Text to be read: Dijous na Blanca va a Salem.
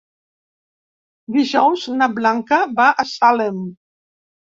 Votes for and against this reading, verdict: 2, 0, accepted